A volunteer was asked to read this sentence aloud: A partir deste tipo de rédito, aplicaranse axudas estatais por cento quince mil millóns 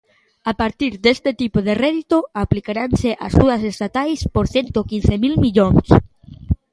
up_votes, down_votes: 2, 0